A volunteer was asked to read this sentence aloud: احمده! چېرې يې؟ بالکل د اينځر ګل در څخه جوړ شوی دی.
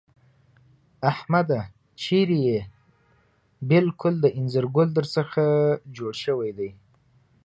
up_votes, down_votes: 2, 0